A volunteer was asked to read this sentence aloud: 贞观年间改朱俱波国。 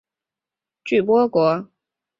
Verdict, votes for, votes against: rejected, 1, 2